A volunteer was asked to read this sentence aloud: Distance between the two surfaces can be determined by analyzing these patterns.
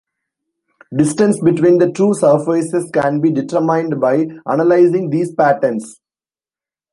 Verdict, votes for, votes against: rejected, 1, 2